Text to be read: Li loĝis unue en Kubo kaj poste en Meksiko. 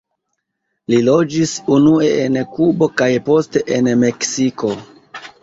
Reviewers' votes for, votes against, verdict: 0, 2, rejected